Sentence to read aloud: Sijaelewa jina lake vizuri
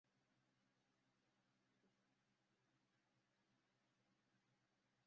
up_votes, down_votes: 0, 2